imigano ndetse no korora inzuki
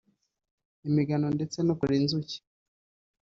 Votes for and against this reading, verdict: 2, 2, rejected